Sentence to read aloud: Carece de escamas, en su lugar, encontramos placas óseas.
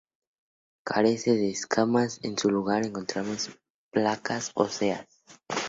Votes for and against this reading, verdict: 4, 2, accepted